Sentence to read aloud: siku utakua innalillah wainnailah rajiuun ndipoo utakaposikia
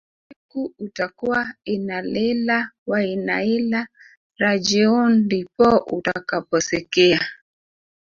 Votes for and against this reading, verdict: 1, 2, rejected